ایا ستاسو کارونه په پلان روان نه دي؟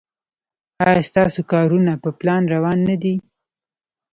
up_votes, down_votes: 1, 2